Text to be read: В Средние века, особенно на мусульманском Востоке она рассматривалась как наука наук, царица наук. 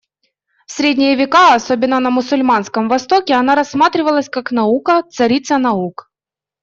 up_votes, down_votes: 1, 2